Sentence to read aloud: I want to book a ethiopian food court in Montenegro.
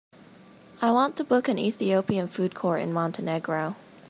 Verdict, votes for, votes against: accepted, 2, 1